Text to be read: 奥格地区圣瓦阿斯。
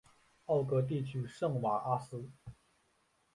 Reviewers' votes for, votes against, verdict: 2, 0, accepted